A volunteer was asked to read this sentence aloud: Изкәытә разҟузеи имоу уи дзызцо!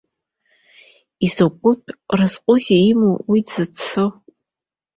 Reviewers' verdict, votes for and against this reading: accepted, 2, 0